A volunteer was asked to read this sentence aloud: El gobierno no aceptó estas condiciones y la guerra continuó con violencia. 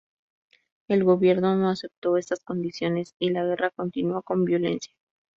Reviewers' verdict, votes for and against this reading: accepted, 2, 0